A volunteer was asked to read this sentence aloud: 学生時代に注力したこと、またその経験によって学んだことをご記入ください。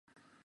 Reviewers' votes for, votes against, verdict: 20, 54, rejected